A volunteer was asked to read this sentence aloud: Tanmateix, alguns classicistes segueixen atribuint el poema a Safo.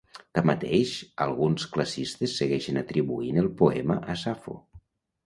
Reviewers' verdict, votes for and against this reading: rejected, 0, 2